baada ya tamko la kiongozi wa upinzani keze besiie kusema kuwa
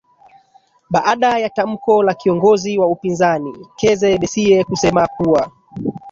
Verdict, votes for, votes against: rejected, 0, 2